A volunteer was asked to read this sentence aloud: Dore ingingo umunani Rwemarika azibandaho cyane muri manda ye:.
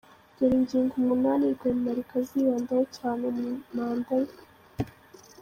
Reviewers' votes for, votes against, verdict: 2, 1, accepted